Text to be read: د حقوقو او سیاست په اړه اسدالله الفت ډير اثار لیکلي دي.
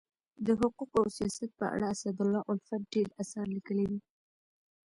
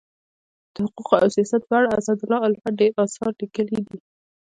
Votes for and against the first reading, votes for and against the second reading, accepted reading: 1, 2, 2, 0, second